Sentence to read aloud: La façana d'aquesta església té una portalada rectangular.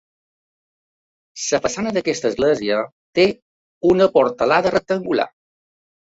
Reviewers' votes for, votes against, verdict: 1, 2, rejected